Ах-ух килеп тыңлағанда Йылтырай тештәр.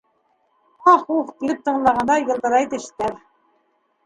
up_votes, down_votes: 3, 4